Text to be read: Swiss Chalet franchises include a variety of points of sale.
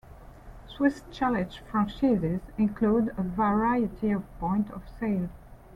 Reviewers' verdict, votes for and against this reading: rejected, 1, 2